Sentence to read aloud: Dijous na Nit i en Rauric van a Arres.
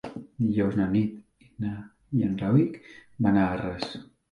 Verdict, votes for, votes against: rejected, 0, 3